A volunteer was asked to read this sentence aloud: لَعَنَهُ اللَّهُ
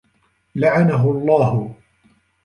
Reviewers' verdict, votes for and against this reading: accepted, 3, 1